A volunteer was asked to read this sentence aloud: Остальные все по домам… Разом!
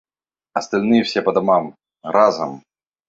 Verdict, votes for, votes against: accepted, 2, 0